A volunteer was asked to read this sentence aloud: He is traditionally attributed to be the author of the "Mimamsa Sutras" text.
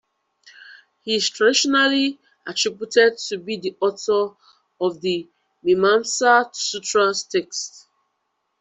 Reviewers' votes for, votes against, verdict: 0, 2, rejected